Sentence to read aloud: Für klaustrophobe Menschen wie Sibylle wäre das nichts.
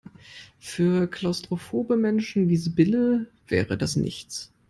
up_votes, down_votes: 2, 0